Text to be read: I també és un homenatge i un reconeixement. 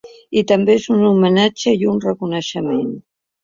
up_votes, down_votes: 2, 0